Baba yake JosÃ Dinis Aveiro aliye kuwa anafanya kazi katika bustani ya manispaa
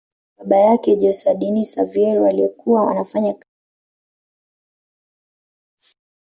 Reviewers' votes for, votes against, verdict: 0, 2, rejected